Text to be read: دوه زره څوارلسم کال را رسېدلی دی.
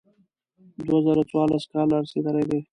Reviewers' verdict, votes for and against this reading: accepted, 2, 0